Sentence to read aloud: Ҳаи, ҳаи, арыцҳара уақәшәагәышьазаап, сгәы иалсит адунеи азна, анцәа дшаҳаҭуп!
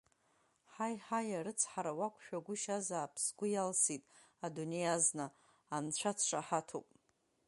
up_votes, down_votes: 4, 1